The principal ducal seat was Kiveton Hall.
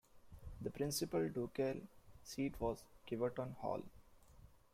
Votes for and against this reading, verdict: 0, 2, rejected